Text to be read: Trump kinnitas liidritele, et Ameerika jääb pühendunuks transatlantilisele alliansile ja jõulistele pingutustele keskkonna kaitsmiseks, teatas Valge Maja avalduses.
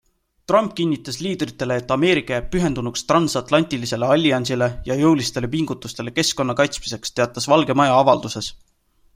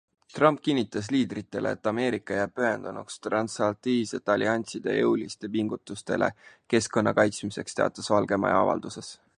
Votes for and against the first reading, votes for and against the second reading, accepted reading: 2, 0, 1, 2, first